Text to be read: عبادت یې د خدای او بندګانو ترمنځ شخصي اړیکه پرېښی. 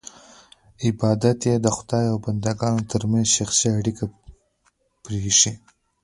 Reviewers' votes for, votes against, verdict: 0, 2, rejected